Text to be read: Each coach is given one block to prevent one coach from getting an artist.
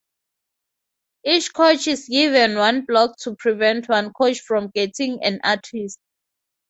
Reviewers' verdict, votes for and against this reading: accepted, 4, 0